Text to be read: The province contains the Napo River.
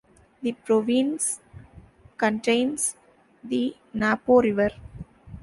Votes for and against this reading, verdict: 2, 0, accepted